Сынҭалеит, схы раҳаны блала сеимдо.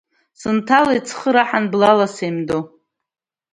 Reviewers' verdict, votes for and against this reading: accepted, 2, 0